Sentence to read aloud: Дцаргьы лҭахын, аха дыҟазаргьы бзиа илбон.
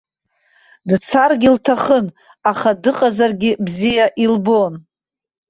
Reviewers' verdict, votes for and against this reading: accepted, 2, 0